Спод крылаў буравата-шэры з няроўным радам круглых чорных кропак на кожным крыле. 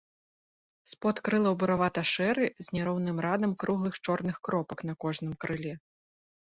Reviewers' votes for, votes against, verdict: 3, 0, accepted